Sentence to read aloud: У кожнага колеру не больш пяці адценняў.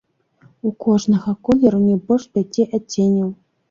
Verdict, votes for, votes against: accepted, 2, 0